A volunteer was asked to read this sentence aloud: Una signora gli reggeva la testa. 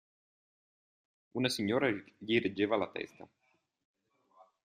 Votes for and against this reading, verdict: 1, 2, rejected